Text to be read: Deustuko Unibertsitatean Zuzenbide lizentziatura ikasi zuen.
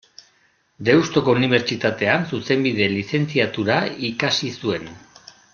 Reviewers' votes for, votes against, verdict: 2, 0, accepted